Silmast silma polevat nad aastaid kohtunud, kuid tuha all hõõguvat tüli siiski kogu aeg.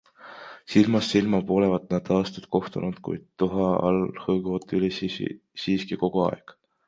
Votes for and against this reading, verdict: 0, 2, rejected